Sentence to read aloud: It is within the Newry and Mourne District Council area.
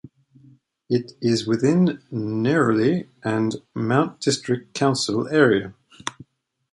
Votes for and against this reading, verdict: 1, 2, rejected